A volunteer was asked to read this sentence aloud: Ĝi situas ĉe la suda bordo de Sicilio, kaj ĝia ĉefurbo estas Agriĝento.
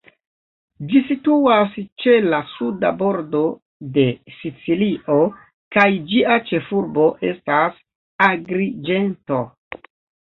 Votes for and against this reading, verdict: 1, 2, rejected